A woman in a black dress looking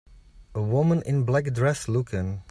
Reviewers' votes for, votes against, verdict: 2, 1, accepted